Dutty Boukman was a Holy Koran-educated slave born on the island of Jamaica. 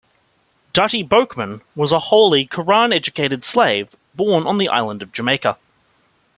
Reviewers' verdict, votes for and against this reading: accepted, 2, 0